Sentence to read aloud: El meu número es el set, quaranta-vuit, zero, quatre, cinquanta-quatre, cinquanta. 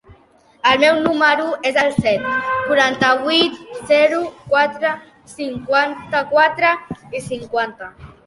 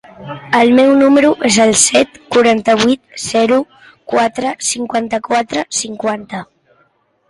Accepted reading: second